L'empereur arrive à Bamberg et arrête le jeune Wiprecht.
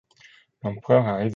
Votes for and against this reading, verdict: 0, 2, rejected